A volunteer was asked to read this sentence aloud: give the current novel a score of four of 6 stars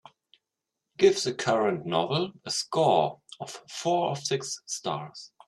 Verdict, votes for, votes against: rejected, 0, 2